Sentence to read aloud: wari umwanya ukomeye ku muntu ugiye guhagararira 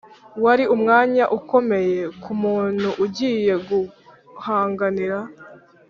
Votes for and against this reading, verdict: 1, 2, rejected